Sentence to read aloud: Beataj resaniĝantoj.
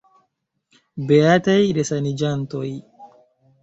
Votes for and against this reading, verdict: 1, 2, rejected